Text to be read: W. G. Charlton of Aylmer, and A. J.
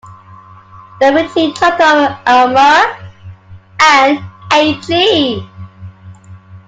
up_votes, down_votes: 0, 3